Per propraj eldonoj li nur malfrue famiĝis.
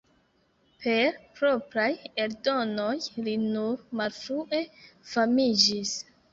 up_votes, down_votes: 2, 0